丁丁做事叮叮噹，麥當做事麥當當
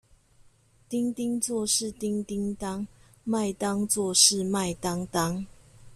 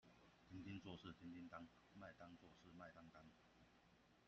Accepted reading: first